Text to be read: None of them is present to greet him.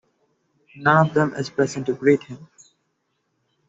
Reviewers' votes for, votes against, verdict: 2, 0, accepted